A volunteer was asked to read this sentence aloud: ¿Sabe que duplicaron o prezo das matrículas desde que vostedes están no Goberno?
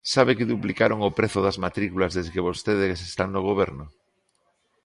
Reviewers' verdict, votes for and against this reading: accepted, 2, 0